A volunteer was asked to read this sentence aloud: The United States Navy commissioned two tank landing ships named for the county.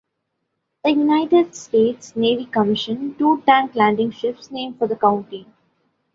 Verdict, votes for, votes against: accepted, 3, 1